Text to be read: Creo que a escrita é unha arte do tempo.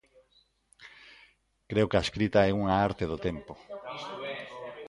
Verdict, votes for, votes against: rejected, 0, 2